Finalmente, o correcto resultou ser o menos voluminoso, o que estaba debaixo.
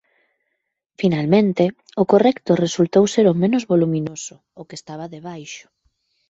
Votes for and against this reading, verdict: 2, 0, accepted